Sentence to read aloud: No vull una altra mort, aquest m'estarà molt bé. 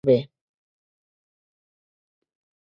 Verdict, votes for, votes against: rejected, 0, 2